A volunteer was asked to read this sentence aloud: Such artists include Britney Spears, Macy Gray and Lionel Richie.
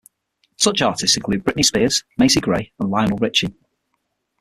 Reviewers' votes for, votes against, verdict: 3, 6, rejected